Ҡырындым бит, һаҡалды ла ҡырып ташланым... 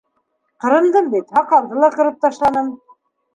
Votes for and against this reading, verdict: 2, 0, accepted